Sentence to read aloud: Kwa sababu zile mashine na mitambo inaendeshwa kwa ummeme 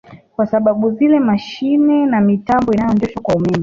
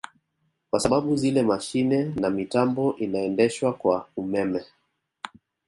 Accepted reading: second